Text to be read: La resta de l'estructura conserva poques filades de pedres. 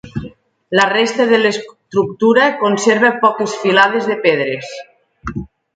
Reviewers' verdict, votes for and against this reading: accepted, 2, 0